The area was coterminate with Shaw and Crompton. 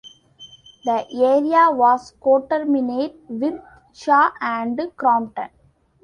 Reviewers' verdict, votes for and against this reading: accepted, 2, 0